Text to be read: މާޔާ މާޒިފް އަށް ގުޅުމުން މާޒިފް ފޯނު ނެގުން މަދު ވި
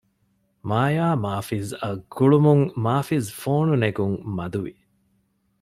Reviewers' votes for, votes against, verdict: 2, 0, accepted